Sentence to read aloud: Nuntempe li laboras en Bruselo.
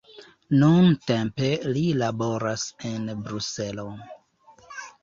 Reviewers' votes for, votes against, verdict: 1, 2, rejected